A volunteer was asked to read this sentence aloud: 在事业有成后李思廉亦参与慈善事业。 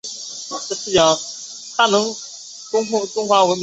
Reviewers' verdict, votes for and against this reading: rejected, 0, 2